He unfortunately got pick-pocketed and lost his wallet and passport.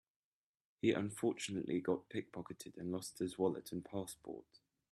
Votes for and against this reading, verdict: 2, 0, accepted